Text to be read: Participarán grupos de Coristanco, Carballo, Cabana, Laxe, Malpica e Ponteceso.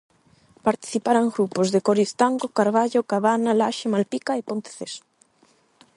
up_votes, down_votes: 8, 0